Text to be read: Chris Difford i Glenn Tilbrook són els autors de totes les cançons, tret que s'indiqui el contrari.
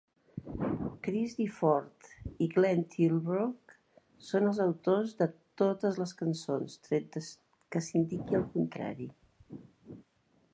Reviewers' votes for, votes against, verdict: 1, 2, rejected